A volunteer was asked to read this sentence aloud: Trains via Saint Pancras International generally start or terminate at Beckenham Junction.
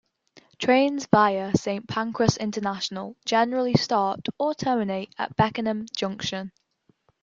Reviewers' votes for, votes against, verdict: 3, 0, accepted